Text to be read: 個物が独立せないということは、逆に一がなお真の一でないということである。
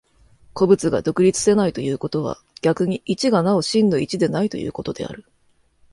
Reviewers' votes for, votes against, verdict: 2, 0, accepted